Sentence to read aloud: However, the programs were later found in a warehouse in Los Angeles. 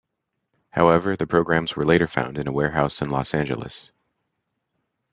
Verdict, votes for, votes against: accepted, 2, 0